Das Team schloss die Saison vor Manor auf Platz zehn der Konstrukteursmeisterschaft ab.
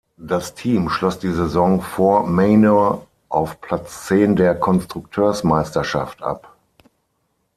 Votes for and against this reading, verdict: 6, 0, accepted